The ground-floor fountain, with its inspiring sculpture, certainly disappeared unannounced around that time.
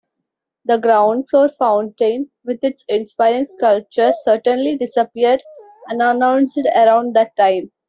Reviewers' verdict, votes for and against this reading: accepted, 2, 0